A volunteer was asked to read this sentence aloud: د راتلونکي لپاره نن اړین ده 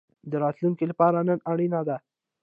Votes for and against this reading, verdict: 1, 3, rejected